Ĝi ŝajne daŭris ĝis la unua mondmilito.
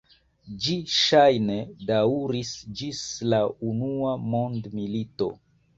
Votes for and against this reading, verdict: 3, 1, accepted